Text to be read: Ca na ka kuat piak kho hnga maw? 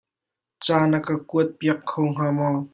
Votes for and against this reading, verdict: 2, 0, accepted